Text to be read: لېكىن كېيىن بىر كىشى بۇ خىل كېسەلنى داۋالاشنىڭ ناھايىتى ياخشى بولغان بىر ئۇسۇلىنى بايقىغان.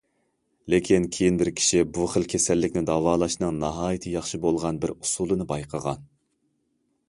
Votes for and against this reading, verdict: 0, 2, rejected